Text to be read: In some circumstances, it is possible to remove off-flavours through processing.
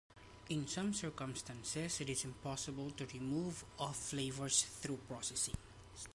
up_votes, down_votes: 1, 2